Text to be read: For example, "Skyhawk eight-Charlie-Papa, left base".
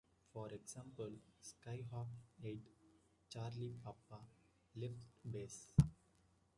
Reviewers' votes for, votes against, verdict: 2, 0, accepted